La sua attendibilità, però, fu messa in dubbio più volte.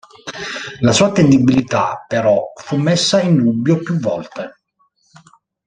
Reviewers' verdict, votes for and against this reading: rejected, 1, 2